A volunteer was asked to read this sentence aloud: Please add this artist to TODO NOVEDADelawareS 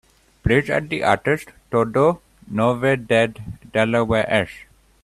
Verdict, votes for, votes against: rejected, 0, 2